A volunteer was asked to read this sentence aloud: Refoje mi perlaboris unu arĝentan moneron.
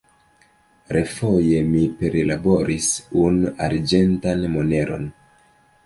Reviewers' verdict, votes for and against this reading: rejected, 1, 2